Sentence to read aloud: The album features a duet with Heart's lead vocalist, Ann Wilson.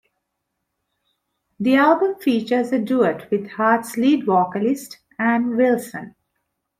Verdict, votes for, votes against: accepted, 2, 0